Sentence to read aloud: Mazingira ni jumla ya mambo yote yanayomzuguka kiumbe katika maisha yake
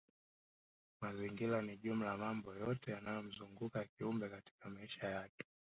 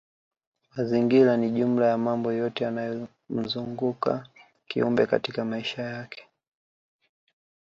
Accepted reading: second